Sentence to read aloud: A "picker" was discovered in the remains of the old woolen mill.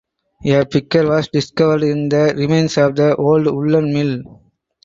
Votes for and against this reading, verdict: 0, 4, rejected